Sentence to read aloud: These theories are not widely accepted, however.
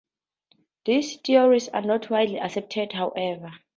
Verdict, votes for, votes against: accepted, 2, 0